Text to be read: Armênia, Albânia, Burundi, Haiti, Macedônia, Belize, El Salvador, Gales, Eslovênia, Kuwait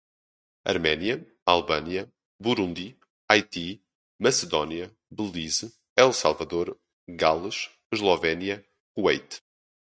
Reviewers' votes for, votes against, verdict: 0, 2, rejected